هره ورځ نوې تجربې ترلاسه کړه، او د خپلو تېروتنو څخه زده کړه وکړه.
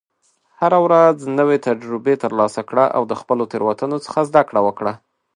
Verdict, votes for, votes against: accepted, 2, 0